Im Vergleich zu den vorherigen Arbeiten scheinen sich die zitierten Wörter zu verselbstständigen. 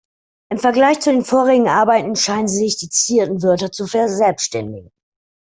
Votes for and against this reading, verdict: 2, 1, accepted